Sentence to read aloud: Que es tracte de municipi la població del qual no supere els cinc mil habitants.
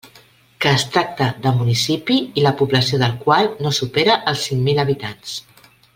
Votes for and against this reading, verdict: 0, 2, rejected